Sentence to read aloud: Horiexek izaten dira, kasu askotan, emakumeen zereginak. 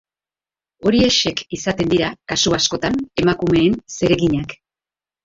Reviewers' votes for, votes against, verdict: 3, 1, accepted